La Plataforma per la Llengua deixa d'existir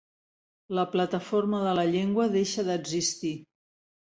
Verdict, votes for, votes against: rejected, 0, 2